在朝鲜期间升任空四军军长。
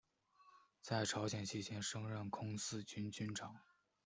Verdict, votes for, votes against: accepted, 2, 0